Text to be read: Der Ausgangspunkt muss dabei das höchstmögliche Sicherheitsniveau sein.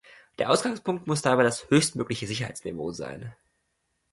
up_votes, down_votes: 2, 0